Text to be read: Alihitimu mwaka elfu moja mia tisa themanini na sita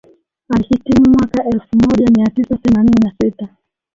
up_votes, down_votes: 1, 2